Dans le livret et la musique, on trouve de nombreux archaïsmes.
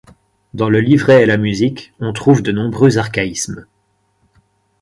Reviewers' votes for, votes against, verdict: 4, 0, accepted